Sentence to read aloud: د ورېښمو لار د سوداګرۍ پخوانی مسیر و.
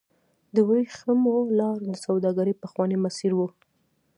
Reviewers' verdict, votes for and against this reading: accepted, 2, 1